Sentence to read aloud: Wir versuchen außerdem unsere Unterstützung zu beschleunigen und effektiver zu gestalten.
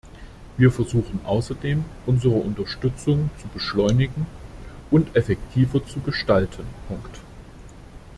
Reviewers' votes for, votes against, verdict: 0, 2, rejected